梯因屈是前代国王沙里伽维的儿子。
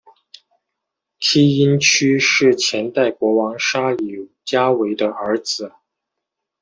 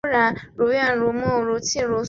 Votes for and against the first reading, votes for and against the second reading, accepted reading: 2, 0, 0, 2, first